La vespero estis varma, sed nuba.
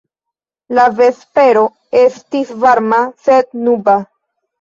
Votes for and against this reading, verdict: 0, 2, rejected